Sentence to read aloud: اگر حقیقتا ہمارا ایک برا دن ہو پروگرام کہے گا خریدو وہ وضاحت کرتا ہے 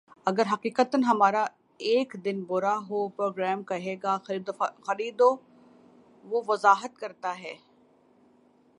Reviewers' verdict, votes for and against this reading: rejected, 0, 2